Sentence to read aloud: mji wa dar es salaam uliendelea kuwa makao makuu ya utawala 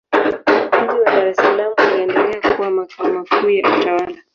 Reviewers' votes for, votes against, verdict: 0, 2, rejected